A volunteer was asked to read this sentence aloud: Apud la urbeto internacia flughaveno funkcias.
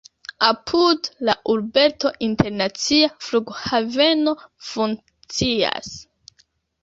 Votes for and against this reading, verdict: 2, 0, accepted